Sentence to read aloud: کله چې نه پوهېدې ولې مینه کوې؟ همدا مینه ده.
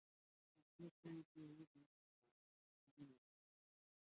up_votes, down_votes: 1, 2